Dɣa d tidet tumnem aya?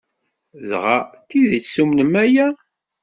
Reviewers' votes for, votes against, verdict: 2, 0, accepted